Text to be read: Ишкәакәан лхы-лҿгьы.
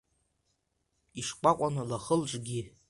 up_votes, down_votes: 2, 1